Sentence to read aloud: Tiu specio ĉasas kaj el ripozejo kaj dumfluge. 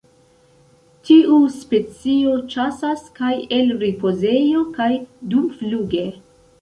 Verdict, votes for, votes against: accepted, 2, 0